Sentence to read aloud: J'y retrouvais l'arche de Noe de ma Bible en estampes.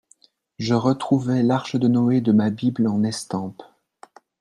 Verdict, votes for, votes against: rejected, 0, 2